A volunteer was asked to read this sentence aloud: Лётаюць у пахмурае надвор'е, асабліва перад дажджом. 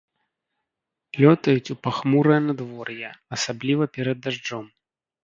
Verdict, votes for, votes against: accepted, 2, 0